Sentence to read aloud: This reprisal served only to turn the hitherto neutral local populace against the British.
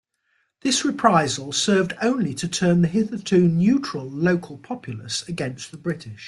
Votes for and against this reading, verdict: 3, 0, accepted